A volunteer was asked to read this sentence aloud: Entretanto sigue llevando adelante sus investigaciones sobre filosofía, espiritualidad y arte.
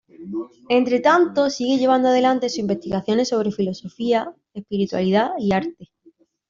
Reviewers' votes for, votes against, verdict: 2, 1, accepted